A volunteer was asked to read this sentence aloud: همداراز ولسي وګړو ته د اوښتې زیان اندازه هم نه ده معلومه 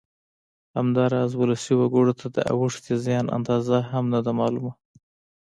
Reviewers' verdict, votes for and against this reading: accepted, 2, 0